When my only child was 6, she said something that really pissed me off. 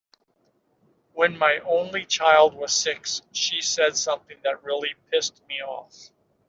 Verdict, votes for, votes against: rejected, 0, 2